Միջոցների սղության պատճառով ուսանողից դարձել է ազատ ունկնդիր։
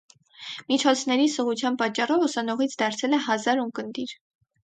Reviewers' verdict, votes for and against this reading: rejected, 4, 4